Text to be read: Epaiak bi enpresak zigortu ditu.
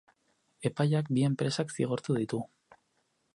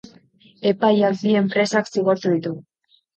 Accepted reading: first